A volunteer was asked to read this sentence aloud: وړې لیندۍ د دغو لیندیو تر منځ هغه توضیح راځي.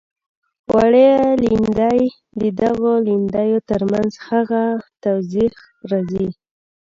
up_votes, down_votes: 1, 2